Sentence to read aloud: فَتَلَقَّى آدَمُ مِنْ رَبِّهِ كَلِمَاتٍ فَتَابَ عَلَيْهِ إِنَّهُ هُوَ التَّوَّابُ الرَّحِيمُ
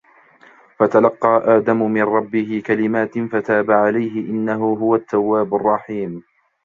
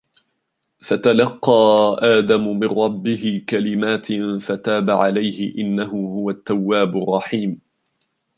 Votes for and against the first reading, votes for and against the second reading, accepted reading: 1, 2, 2, 0, second